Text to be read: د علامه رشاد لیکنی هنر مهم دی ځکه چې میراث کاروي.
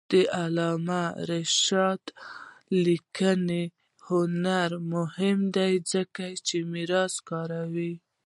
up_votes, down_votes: 1, 2